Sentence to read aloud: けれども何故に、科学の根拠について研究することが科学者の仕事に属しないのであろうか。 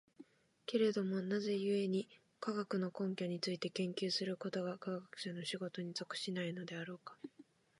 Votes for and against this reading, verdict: 0, 2, rejected